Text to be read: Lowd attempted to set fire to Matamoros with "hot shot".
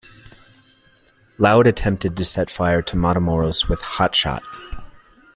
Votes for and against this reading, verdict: 2, 0, accepted